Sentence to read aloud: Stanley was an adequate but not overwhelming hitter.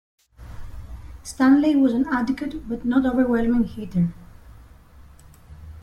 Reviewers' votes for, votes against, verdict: 2, 0, accepted